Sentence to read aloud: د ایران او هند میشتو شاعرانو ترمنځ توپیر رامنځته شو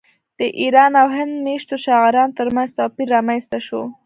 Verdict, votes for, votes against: rejected, 0, 2